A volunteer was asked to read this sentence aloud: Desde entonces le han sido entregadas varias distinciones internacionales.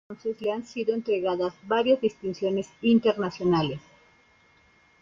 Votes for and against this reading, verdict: 0, 2, rejected